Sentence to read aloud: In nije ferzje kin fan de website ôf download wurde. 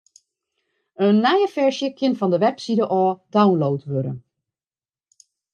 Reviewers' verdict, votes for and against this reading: accepted, 2, 1